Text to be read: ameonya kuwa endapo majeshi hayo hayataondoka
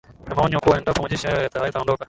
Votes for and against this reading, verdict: 7, 17, rejected